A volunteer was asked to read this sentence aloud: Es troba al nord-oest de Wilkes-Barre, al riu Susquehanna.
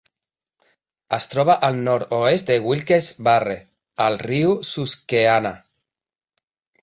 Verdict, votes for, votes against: accepted, 3, 1